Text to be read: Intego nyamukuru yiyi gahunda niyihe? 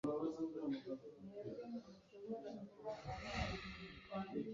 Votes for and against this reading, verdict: 0, 2, rejected